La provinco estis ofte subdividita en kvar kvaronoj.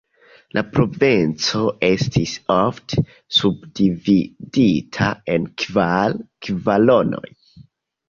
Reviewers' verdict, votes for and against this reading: rejected, 0, 2